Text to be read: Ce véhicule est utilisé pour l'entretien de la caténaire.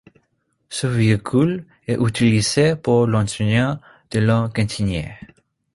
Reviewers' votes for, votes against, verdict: 0, 2, rejected